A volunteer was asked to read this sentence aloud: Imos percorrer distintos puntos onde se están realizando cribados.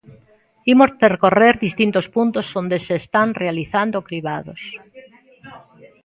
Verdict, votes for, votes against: accepted, 2, 1